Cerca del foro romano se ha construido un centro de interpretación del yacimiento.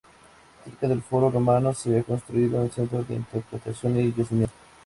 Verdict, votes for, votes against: accepted, 2, 0